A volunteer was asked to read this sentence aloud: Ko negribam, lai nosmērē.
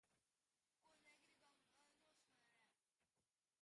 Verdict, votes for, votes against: rejected, 0, 2